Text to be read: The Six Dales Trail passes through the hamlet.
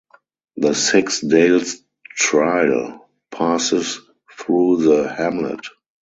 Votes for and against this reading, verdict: 0, 4, rejected